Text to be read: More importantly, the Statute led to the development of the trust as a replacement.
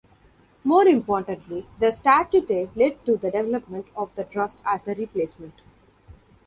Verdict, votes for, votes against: rejected, 1, 2